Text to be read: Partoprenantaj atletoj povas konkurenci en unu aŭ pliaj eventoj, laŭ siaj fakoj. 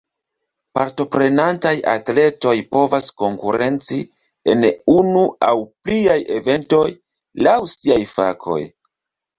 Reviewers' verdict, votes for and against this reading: accepted, 2, 0